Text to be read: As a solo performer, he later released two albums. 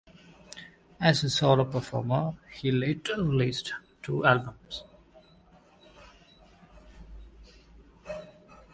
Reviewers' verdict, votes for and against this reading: accepted, 2, 1